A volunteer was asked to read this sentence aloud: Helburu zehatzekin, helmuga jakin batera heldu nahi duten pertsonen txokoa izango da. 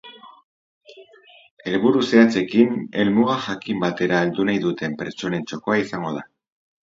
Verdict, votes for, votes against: rejected, 0, 4